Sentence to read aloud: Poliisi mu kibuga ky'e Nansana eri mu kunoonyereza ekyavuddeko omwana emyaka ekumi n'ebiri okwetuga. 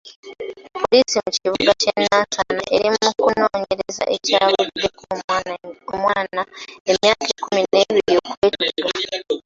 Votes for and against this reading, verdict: 1, 2, rejected